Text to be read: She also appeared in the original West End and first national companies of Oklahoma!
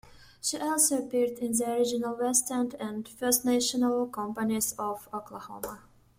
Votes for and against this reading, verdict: 2, 1, accepted